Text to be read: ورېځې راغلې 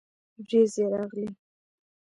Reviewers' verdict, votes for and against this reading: rejected, 1, 2